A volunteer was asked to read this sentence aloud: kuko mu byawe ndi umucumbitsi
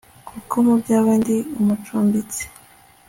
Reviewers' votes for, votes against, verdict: 2, 0, accepted